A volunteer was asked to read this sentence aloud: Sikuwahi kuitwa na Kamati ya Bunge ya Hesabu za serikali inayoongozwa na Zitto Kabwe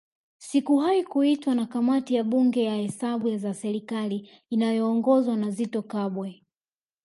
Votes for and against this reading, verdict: 2, 0, accepted